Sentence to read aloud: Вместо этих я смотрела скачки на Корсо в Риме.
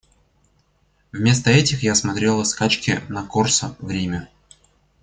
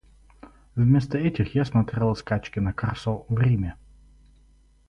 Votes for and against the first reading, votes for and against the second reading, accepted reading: 2, 0, 2, 2, first